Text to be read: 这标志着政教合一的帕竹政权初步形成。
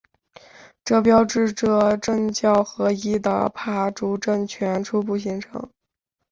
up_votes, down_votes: 3, 0